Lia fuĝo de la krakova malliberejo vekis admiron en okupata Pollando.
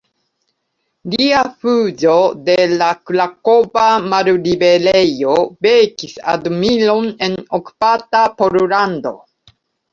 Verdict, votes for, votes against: accepted, 2, 0